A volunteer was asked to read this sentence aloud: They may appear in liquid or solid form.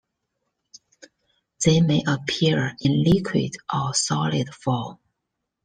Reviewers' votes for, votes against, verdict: 2, 0, accepted